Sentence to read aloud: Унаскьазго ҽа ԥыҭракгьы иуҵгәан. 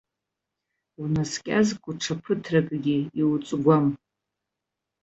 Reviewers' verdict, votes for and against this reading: accepted, 2, 1